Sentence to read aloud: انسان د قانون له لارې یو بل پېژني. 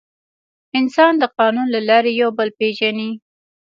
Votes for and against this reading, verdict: 2, 1, accepted